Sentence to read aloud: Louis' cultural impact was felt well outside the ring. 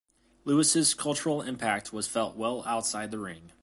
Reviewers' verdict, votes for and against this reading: accepted, 2, 0